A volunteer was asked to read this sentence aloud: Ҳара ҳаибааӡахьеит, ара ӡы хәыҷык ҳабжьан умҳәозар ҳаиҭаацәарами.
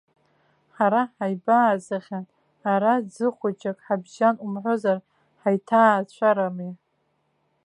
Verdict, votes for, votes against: rejected, 0, 2